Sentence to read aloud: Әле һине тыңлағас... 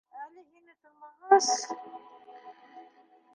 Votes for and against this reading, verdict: 1, 2, rejected